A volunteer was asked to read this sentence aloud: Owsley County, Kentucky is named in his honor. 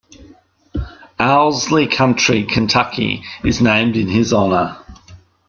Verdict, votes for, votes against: rejected, 1, 2